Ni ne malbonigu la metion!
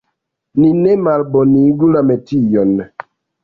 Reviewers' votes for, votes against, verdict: 2, 1, accepted